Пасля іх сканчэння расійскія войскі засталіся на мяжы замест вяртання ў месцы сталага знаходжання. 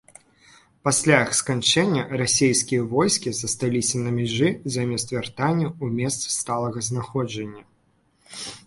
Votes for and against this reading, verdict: 2, 1, accepted